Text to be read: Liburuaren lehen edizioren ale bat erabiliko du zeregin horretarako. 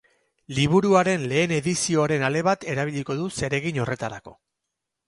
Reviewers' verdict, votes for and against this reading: accepted, 10, 4